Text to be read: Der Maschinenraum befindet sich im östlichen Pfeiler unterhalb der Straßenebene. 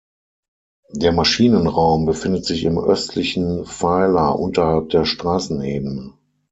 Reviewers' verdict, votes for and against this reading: accepted, 6, 3